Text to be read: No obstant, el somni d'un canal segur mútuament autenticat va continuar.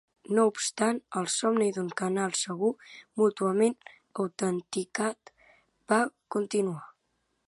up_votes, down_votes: 2, 0